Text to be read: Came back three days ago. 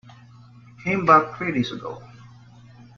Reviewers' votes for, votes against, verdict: 2, 1, accepted